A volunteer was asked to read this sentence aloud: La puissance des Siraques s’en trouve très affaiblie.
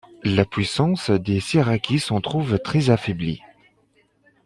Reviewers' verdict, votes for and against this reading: accepted, 3, 0